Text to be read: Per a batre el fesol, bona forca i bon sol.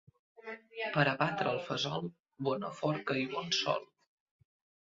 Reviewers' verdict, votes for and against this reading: rejected, 0, 2